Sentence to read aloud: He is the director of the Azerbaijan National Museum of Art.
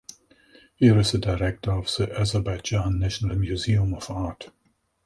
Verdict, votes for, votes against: accepted, 2, 0